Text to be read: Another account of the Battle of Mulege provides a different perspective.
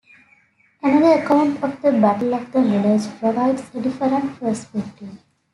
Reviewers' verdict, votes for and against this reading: rejected, 1, 2